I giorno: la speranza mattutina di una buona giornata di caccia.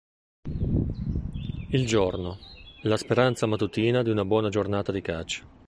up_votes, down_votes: 1, 2